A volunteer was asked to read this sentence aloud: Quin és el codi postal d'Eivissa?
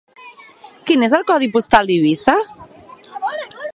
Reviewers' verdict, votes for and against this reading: rejected, 0, 4